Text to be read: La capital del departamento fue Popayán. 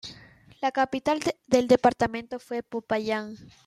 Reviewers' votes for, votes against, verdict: 1, 2, rejected